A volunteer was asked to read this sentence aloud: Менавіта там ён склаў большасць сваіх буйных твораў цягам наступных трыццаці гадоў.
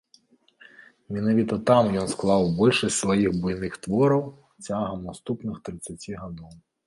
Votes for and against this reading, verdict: 2, 0, accepted